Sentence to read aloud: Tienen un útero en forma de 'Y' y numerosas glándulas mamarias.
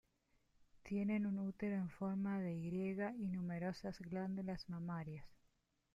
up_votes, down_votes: 0, 2